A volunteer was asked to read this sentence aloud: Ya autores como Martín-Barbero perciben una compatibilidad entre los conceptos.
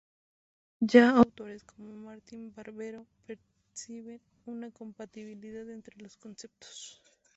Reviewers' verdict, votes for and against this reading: accepted, 2, 0